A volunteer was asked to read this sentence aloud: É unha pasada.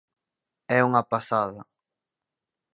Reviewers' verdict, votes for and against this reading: accepted, 4, 0